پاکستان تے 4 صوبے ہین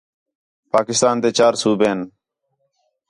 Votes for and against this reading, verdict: 0, 2, rejected